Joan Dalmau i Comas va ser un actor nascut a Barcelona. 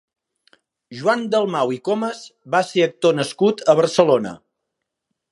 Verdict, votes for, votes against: rejected, 0, 2